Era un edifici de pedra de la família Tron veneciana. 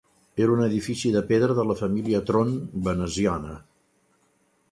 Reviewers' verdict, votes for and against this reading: accepted, 2, 0